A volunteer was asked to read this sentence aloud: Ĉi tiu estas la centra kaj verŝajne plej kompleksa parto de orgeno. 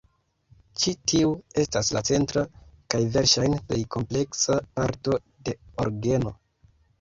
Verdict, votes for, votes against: accepted, 2, 0